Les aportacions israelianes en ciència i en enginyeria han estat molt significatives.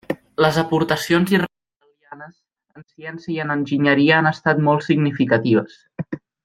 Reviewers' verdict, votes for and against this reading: rejected, 0, 2